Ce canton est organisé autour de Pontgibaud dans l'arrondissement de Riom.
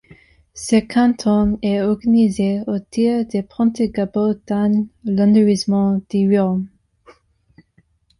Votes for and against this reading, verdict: 0, 2, rejected